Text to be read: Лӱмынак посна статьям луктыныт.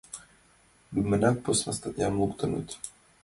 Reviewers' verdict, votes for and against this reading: accepted, 2, 0